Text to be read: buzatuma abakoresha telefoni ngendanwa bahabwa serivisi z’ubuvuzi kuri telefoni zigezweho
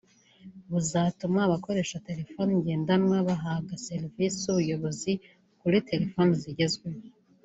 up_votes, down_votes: 0, 2